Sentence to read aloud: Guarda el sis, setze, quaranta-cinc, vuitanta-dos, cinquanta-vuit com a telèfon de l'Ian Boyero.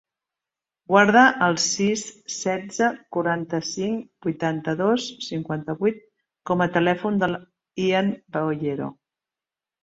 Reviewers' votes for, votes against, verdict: 0, 3, rejected